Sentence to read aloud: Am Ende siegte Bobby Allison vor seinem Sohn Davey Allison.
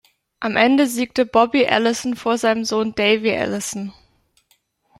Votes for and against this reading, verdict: 3, 0, accepted